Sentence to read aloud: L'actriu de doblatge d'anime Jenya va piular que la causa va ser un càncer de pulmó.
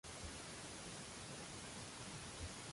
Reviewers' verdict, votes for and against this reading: rejected, 0, 2